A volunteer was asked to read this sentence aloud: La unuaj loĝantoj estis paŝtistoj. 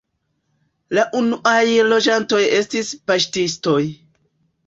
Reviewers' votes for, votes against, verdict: 2, 0, accepted